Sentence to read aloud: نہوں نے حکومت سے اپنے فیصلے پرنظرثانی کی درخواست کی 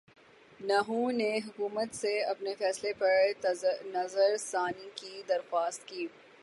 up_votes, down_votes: 3, 3